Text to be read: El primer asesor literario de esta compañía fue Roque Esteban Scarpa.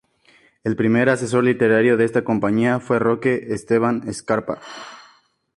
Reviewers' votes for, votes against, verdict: 4, 0, accepted